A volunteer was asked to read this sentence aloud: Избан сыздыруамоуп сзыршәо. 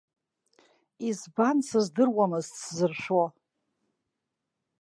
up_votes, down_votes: 0, 2